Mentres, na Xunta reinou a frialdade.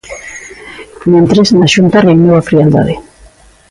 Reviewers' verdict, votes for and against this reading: accepted, 2, 0